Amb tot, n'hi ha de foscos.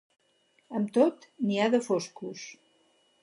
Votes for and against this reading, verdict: 4, 0, accepted